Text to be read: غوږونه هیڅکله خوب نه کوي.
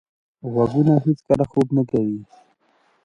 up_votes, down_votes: 0, 2